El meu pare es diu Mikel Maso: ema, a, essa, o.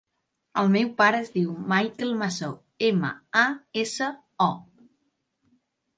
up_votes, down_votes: 0, 2